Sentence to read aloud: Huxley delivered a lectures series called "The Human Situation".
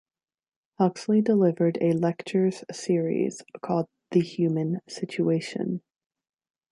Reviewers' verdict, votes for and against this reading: rejected, 0, 2